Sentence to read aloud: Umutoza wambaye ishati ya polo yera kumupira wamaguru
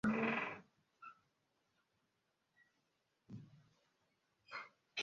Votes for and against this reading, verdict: 0, 2, rejected